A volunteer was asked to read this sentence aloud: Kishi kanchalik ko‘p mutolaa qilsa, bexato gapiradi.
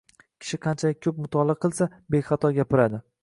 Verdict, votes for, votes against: accepted, 2, 0